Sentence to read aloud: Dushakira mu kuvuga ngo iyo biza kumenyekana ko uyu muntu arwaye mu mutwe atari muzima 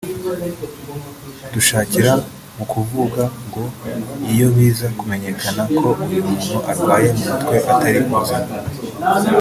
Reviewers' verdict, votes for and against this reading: rejected, 1, 2